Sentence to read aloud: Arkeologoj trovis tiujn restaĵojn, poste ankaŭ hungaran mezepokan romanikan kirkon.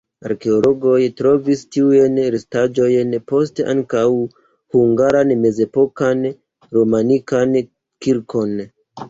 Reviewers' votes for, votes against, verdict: 2, 0, accepted